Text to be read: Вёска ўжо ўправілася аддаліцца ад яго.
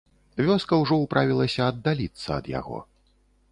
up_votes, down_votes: 2, 0